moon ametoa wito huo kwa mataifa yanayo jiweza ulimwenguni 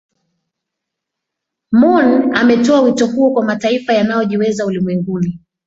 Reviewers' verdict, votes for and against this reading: accepted, 2, 0